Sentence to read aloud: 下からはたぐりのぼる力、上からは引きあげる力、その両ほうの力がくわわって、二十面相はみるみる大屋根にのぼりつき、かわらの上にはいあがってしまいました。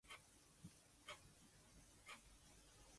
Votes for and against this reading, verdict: 0, 3, rejected